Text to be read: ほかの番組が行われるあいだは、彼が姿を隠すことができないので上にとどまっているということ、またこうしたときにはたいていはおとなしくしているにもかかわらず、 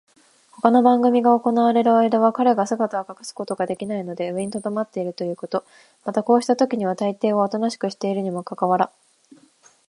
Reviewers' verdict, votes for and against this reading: accepted, 2, 0